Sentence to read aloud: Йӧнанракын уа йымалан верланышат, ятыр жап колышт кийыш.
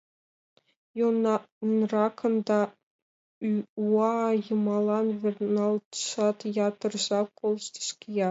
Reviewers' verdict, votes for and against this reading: rejected, 0, 2